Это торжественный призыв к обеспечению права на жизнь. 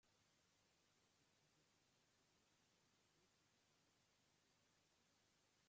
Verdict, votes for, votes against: rejected, 0, 2